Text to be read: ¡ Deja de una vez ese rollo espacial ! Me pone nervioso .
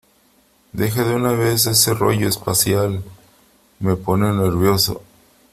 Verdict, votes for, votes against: accepted, 3, 0